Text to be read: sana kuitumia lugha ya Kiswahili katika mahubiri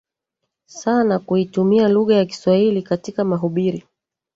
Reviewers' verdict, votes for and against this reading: rejected, 1, 2